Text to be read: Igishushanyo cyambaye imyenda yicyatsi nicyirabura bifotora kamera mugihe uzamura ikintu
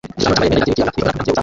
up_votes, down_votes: 0, 2